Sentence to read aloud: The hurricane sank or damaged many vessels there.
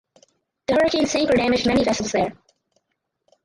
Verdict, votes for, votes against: rejected, 2, 2